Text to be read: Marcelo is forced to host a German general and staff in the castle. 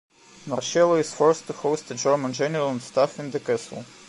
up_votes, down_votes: 2, 1